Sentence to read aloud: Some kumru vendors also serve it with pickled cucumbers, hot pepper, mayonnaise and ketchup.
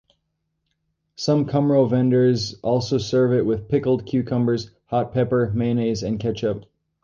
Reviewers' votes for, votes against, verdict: 2, 0, accepted